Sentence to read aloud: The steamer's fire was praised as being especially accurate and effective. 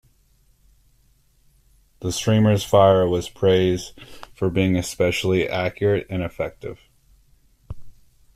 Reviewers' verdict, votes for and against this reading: rejected, 1, 2